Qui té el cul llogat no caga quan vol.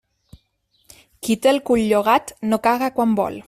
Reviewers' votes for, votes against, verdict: 2, 0, accepted